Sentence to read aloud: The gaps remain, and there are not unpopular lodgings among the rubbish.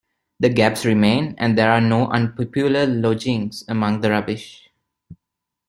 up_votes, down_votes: 1, 2